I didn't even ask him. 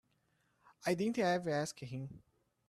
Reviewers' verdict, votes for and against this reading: rejected, 0, 2